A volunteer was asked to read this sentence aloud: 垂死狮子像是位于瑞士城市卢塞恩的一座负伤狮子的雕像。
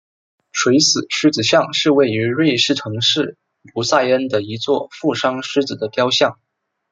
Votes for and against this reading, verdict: 2, 0, accepted